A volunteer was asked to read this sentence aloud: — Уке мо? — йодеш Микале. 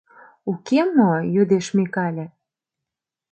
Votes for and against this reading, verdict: 2, 0, accepted